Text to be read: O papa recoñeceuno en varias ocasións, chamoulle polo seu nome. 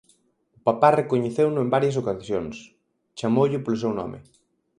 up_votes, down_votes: 2, 4